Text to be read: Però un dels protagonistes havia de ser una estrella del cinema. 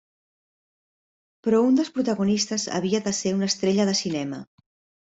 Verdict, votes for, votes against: rejected, 1, 2